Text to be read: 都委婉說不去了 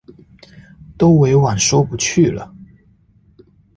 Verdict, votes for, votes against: accepted, 2, 0